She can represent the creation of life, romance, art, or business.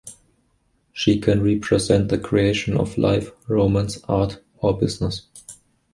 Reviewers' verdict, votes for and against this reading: accepted, 2, 0